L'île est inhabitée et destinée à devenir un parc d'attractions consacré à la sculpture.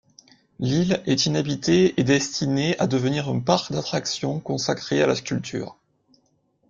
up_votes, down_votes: 2, 0